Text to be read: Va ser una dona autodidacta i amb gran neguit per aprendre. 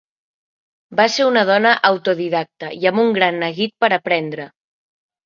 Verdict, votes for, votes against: accepted, 2, 0